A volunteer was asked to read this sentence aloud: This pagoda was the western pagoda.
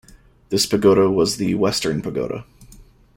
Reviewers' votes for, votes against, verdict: 2, 1, accepted